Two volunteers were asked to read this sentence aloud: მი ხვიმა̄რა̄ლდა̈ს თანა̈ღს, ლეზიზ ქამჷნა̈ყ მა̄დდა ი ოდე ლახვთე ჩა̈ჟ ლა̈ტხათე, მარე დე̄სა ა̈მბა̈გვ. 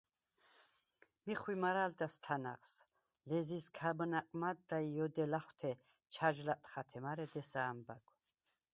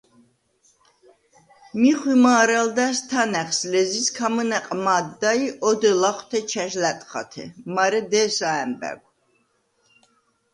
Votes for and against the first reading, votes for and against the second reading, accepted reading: 0, 4, 2, 0, second